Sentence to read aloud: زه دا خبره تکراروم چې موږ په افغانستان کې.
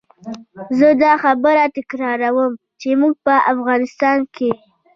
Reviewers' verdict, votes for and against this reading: accepted, 2, 1